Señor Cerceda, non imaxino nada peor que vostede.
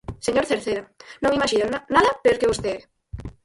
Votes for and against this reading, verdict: 0, 4, rejected